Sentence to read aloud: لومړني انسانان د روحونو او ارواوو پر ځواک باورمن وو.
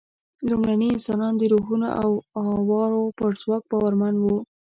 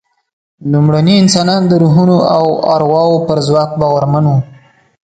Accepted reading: second